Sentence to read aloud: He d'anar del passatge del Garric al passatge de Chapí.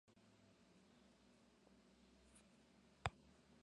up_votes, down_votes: 0, 2